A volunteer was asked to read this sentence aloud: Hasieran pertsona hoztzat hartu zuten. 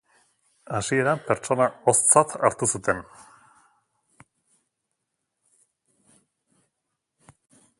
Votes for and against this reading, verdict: 2, 0, accepted